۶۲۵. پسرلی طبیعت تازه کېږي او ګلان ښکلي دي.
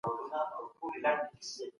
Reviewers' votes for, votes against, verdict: 0, 2, rejected